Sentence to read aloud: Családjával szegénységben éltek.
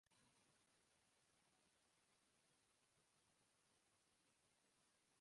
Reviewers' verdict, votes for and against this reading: rejected, 0, 2